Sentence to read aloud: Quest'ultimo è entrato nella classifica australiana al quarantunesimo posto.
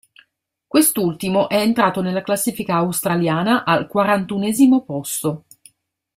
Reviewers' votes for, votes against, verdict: 2, 0, accepted